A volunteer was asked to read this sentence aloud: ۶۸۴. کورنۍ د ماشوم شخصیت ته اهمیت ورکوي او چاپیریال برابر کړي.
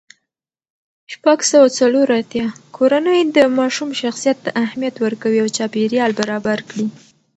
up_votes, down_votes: 0, 2